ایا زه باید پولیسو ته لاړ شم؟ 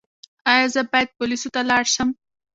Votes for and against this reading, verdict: 1, 2, rejected